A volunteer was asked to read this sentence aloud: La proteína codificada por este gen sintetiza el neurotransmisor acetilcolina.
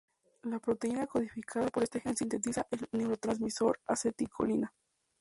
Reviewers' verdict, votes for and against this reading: accepted, 2, 0